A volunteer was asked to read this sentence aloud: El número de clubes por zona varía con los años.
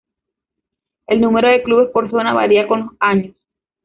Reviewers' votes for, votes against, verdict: 1, 2, rejected